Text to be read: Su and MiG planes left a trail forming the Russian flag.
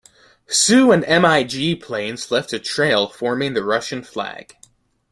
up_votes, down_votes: 1, 2